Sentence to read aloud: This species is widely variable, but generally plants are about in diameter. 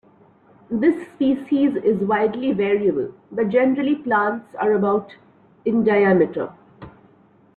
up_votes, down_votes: 1, 2